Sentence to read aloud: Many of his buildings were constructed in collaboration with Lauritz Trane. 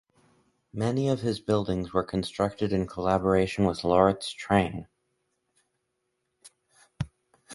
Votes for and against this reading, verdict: 4, 2, accepted